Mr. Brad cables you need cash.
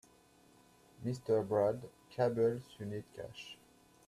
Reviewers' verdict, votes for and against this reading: rejected, 1, 2